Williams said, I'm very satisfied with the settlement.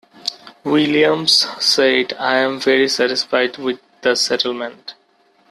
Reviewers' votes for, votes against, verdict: 2, 0, accepted